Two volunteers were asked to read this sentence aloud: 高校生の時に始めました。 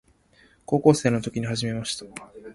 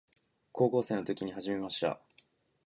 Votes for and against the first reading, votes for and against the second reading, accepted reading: 0, 2, 3, 1, second